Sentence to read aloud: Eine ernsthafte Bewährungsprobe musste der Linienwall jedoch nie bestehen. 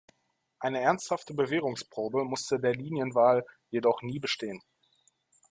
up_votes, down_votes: 0, 2